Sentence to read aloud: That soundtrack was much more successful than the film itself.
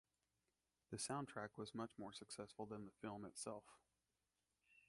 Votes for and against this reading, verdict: 2, 0, accepted